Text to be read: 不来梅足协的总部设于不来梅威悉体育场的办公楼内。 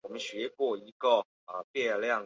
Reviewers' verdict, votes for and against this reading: rejected, 1, 4